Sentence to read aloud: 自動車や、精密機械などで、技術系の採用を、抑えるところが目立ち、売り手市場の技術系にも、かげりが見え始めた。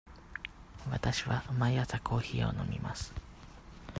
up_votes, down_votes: 0, 2